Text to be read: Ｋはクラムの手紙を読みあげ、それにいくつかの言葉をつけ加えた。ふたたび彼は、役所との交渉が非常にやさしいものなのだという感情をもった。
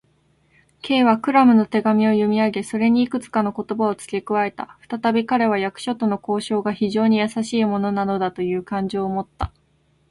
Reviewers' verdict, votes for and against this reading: accepted, 2, 0